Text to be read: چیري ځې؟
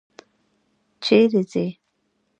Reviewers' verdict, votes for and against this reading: rejected, 0, 2